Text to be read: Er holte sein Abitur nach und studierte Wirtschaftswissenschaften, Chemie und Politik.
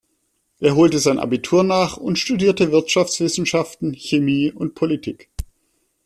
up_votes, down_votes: 2, 0